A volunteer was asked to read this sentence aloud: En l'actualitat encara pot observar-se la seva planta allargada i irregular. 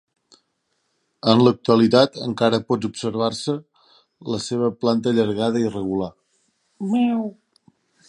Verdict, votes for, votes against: rejected, 0, 2